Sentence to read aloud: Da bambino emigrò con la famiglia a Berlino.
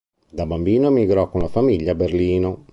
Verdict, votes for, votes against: accepted, 2, 0